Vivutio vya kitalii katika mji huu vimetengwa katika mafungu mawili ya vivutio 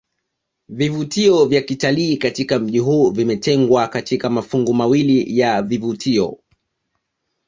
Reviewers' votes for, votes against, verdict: 1, 2, rejected